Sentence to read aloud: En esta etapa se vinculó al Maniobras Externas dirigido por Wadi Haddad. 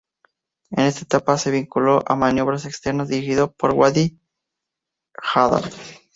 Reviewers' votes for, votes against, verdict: 0, 2, rejected